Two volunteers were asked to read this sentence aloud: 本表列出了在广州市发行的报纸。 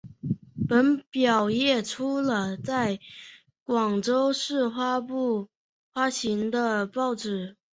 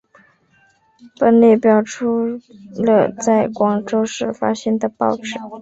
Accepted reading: second